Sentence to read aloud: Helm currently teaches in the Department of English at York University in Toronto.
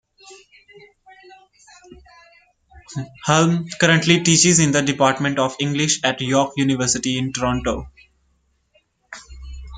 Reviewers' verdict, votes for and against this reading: rejected, 0, 2